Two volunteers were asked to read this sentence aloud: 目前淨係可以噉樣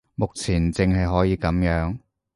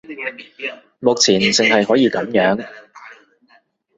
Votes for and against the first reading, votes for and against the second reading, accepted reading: 2, 0, 1, 2, first